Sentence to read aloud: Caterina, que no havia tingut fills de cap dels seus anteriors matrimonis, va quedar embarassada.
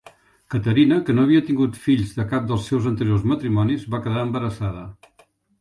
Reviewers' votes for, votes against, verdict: 3, 0, accepted